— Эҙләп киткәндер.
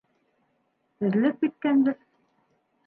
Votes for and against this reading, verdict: 0, 2, rejected